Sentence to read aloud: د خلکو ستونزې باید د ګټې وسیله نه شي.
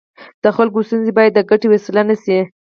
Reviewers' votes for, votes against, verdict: 2, 4, rejected